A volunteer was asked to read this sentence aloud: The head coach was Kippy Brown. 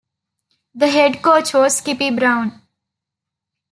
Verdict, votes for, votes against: accepted, 2, 0